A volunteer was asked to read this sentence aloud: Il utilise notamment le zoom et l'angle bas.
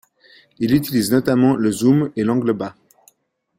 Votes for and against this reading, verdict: 2, 0, accepted